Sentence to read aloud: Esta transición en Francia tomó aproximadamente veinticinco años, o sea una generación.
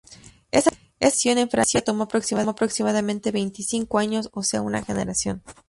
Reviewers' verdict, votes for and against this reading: rejected, 0, 2